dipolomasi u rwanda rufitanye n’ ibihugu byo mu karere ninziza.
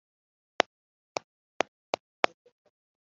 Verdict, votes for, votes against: rejected, 0, 2